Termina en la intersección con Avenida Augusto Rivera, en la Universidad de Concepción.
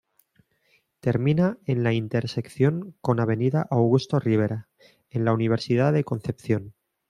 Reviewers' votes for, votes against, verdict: 2, 0, accepted